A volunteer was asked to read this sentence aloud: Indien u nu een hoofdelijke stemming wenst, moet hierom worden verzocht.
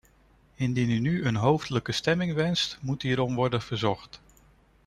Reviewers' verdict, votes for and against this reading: accepted, 2, 0